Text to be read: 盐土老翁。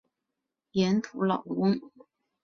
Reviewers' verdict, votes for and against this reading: accepted, 3, 0